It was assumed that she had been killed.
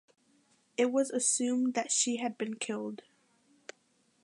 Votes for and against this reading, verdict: 2, 1, accepted